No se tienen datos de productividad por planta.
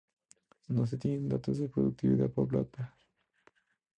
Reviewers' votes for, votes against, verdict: 0, 2, rejected